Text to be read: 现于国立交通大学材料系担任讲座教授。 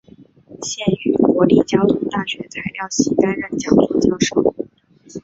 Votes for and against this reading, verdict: 2, 1, accepted